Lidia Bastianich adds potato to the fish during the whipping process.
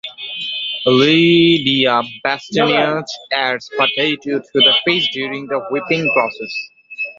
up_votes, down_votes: 2, 0